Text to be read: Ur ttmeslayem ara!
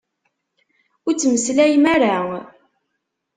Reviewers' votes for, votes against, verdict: 2, 0, accepted